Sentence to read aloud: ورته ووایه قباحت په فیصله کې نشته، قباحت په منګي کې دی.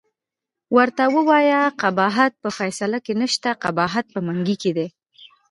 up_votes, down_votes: 2, 1